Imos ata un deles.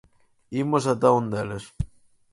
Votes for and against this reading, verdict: 4, 0, accepted